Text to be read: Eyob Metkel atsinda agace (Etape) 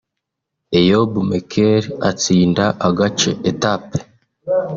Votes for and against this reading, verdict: 2, 0, accepted